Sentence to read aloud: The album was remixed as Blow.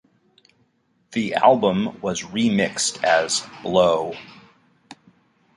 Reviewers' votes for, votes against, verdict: 2, 0, accepted